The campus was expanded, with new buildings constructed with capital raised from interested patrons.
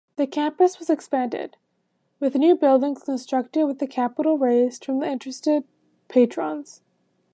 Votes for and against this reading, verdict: 2, 0, accepted